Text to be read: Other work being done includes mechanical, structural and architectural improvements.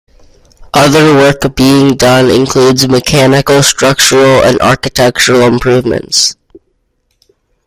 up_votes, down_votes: 2, 1